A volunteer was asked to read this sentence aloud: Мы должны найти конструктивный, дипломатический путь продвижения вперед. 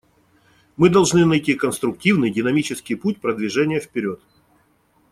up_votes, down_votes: 0, 2